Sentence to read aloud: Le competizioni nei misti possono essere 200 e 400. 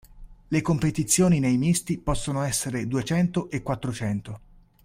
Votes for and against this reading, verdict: 0, 2, rejected